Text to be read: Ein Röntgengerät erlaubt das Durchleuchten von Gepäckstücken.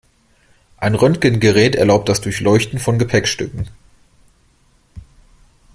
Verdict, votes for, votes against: accepted, 2, 0